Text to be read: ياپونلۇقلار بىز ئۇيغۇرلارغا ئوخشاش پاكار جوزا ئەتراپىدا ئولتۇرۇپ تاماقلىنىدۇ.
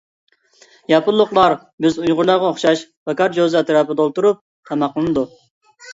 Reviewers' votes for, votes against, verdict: 2, 0, accepted